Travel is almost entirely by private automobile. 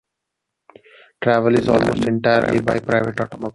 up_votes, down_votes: 0, 2